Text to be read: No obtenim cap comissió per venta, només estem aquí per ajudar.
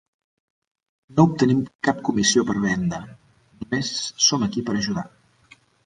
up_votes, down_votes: 0, 2